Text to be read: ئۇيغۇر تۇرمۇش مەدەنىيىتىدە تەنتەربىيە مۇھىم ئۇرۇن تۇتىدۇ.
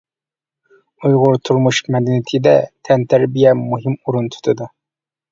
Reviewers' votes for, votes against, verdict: 2, 0, accepted